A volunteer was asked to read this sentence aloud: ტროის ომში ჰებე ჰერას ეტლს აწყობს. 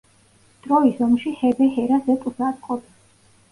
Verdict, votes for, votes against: rejected, 1, 2